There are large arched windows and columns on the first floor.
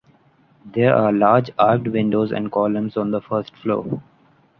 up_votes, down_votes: 2, 0